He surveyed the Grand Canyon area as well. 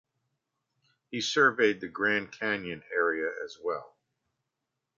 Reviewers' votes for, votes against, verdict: 2, 0, accepted